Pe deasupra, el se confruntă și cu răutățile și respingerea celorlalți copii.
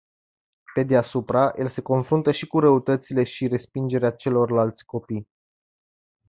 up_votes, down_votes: 2, 0